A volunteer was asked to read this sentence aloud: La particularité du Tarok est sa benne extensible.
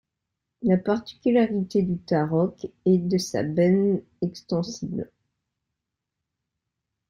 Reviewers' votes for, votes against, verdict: 0, 2, rejected